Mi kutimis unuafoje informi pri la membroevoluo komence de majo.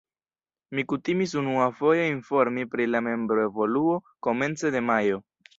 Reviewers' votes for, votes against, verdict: 1, 2, rejected